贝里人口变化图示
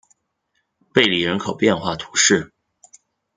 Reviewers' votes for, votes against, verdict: 2, 1, accepted